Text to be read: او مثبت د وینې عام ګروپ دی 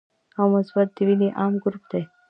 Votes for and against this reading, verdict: 2, 0, accepted